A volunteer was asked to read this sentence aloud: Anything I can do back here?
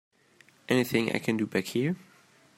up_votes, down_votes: 2, 0